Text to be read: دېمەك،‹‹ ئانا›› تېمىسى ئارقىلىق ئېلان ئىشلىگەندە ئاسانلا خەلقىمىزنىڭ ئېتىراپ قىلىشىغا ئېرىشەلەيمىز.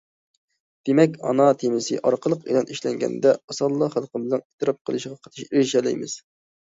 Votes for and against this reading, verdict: 0, 2, rejected